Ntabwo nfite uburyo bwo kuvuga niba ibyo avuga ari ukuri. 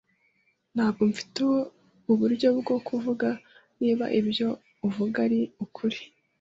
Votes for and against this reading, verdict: 1, 2, rejected